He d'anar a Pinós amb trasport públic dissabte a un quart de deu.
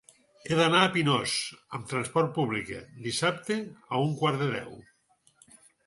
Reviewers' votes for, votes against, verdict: 0, 4, rejected